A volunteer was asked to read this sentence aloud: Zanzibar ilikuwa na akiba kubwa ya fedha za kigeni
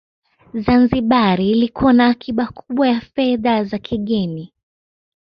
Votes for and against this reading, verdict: 2, 0, accepted